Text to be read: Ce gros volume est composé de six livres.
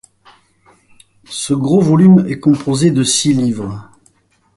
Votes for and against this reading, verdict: 4, 0, accepted